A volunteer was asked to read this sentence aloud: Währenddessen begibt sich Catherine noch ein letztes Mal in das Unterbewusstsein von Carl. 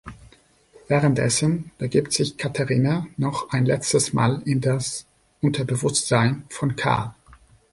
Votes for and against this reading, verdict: 1, 2, rejected